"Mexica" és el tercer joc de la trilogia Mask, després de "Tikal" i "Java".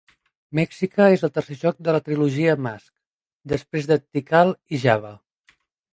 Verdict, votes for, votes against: rejected, 2, 3